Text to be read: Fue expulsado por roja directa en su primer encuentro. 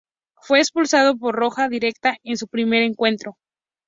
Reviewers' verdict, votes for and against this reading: accepted, 4, 0